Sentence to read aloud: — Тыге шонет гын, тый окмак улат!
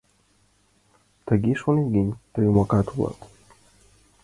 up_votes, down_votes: 0, 2